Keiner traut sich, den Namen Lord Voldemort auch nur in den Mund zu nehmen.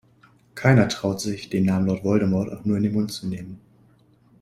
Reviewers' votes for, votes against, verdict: 2, 0, accepted